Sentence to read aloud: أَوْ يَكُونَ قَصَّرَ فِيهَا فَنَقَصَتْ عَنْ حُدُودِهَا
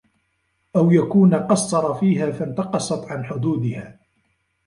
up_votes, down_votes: 1, 2